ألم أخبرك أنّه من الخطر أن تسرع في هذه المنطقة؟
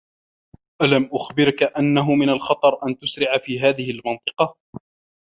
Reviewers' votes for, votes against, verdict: 2, 0, accepted